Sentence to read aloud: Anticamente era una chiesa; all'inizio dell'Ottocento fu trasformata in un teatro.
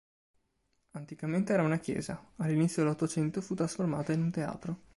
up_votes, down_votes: 2, 1